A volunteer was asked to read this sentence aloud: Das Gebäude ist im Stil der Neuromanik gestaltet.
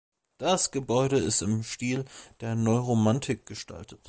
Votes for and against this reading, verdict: 3, 1, accepted